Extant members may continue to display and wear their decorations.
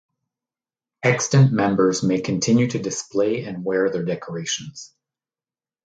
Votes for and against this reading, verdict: 2, 0, accepted